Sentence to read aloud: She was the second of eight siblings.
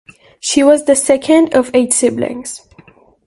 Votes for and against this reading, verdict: 2, 0, accepted